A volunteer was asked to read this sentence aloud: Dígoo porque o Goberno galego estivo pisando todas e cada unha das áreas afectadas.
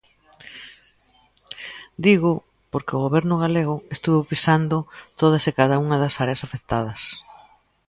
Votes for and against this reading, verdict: 1, 2, rejected